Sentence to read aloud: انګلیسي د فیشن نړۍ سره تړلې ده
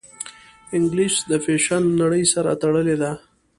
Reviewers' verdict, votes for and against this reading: accepted, 2, 0